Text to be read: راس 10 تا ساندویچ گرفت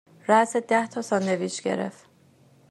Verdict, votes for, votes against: rejected, 0, 2